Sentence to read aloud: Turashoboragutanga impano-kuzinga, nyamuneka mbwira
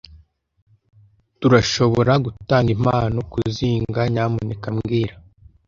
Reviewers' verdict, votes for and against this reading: accepted, 2, 0